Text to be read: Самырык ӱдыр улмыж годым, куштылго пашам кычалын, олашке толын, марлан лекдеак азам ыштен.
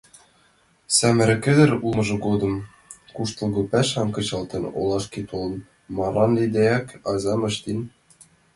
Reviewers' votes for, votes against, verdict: 2, 1, accepted